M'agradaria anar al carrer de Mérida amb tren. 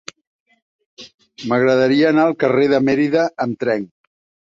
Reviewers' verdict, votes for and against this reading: accepted, 4, 0